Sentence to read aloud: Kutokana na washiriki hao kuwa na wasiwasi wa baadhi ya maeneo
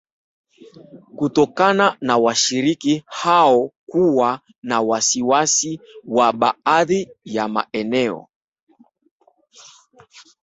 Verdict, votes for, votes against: rejected, 1, 2